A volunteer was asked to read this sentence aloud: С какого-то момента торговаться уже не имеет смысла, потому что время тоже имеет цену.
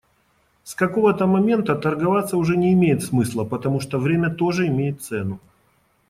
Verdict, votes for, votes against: accepted, 2, 0